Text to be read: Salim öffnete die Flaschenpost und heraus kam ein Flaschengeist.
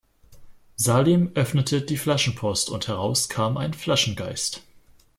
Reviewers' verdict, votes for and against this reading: accepted, 2, 0